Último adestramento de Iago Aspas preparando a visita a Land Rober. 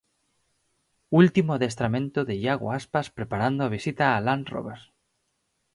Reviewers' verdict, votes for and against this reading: accepted, 4, 0